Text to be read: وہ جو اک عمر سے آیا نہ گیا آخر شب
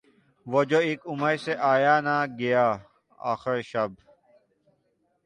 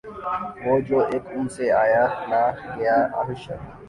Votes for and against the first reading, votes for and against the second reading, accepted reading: 7, 1, 0, 2, first